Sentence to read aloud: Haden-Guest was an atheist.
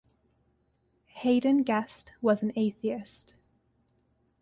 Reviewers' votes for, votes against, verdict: 2, 1, accepted